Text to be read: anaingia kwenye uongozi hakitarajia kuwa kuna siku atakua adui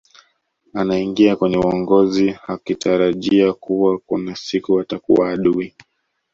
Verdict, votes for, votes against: rejected, 1, 2